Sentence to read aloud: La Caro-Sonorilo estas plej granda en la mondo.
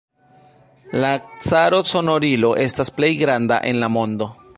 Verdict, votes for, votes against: accepted, 2, 0